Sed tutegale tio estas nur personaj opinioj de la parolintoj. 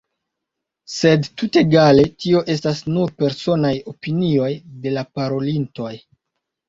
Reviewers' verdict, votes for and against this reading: accepted, 3, 0